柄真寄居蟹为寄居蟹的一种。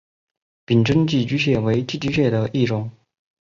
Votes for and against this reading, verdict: 3, 0, accepted